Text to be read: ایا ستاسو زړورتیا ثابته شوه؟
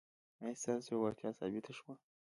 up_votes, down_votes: 0, 2